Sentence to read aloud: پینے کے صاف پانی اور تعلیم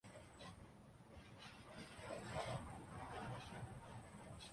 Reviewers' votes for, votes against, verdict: 0, 2, rejected